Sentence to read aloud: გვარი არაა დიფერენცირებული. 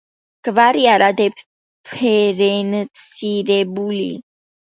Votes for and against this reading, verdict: 0, 2, rejected